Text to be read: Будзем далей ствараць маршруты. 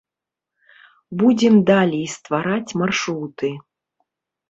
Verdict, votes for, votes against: accepted, 2, 0